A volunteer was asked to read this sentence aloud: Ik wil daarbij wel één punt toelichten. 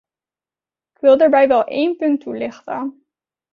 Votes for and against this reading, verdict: 1, 2, rejected